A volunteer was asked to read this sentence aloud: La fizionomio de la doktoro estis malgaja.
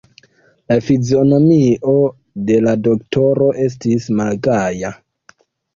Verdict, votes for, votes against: accepted, 3, 1